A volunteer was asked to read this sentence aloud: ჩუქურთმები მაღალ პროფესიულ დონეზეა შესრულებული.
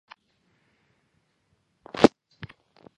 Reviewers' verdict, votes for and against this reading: rejected, 1, 2